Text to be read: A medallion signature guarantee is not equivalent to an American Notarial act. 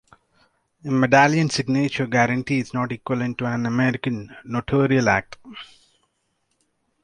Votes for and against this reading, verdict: 0, 2, rejected